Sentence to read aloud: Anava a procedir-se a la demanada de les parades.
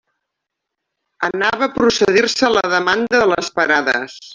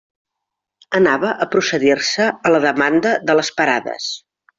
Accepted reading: second